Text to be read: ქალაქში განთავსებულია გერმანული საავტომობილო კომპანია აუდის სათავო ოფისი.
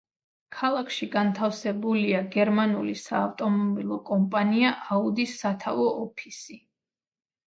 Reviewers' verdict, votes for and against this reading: rejected, 0, 2